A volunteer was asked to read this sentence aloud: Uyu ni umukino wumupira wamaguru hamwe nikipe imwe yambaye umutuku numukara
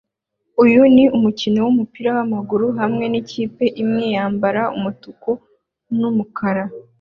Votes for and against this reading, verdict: 2, 0, accepted